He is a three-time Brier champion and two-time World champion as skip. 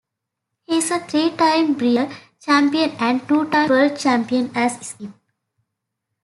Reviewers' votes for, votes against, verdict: 1, 2, rejected